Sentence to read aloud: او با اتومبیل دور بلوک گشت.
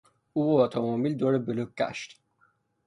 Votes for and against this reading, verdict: 0, 3, rejected